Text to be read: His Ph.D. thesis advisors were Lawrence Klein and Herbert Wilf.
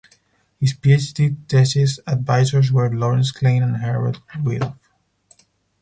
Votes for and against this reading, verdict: 2, 4, rejected